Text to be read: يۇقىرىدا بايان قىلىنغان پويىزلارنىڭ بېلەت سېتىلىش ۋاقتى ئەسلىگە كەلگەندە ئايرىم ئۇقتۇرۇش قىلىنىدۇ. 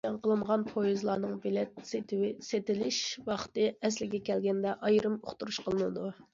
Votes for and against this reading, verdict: 0, 2, rejected